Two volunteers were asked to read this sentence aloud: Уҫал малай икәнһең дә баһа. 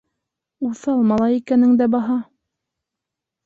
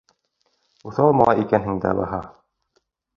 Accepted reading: second